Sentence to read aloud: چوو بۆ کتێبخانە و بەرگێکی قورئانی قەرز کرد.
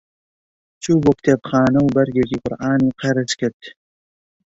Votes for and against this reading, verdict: 1, 2, rejected